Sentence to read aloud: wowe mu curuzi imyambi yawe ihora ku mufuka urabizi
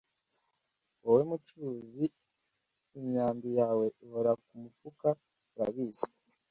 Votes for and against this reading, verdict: 2, 0, accepted